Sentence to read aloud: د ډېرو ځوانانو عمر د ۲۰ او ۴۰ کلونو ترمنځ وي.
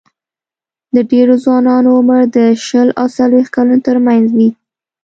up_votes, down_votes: 0, 2